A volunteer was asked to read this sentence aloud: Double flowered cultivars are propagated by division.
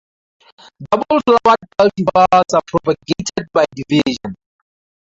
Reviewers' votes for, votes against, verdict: 0, 2, rejected